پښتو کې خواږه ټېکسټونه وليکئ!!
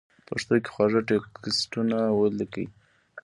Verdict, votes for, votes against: accepted, 2, 0